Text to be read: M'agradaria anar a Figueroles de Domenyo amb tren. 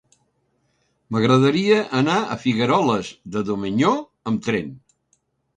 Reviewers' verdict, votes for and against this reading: rejected, 1, 2